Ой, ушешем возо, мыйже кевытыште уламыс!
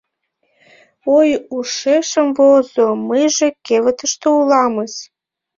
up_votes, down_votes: 1, 2